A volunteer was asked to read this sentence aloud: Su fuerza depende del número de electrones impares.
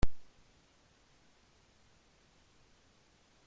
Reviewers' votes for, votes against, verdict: 0, 2, rejected